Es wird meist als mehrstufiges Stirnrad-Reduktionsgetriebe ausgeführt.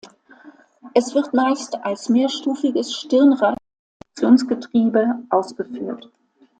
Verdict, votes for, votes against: rejected, 1, 2